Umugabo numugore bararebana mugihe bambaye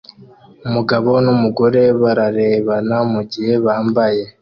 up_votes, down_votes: 2, 0